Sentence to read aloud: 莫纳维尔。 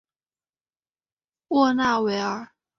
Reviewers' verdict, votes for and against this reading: accepted, 2, 1